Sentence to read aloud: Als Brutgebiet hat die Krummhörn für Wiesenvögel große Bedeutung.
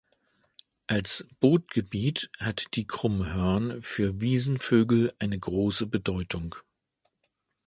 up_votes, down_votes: 1, 2